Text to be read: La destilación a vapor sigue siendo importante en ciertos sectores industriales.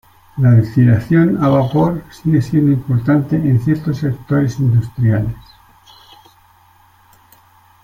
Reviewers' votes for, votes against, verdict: 2, 0, accepted